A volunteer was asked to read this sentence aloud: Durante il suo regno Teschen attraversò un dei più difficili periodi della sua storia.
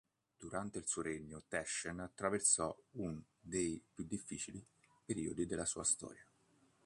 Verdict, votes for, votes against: accepted, 2, 0